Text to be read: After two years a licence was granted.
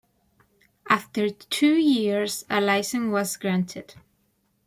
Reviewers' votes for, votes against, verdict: 2, 1, accepted